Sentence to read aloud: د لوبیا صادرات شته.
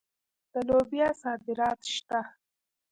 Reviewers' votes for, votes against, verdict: 0, 2, rejected